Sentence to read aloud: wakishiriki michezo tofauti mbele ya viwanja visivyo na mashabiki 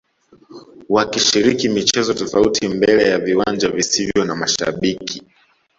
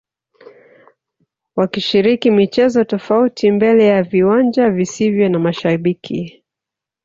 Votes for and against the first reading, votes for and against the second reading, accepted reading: 2, 0, 0, 2, first